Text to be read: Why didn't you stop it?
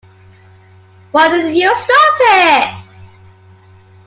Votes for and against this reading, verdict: 2, 0, accepted